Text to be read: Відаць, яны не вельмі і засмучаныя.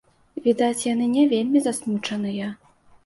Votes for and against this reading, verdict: 0, 2, rejected